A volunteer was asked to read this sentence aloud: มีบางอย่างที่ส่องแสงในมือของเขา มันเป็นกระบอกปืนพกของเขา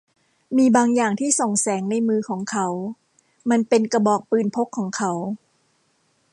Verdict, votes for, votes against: accepted, 2, 0